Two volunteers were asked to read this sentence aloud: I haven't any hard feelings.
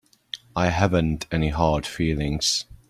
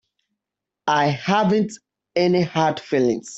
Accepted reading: first